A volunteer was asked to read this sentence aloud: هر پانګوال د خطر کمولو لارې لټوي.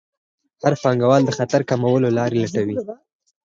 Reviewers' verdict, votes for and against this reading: accepted, 4, 0